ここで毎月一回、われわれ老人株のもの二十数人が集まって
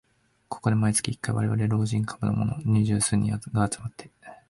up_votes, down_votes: 2, 1